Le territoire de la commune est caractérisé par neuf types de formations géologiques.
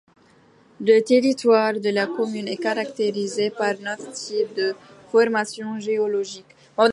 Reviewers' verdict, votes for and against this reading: rejected, 0, 2